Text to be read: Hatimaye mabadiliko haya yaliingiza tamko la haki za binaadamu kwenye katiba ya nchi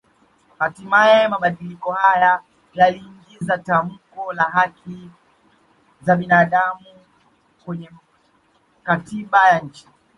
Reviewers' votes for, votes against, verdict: 2, 1, accepted